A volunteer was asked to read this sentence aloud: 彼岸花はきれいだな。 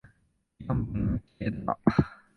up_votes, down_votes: 1, 3